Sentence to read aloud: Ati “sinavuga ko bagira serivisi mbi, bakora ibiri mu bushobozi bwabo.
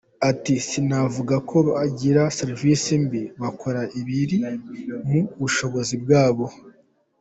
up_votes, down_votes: 2, 1